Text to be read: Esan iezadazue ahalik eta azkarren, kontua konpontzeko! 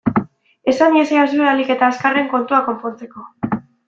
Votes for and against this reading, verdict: 1, 2, rejected